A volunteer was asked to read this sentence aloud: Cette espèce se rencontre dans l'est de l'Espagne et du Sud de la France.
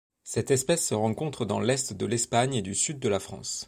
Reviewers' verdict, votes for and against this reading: accepted, 2, 0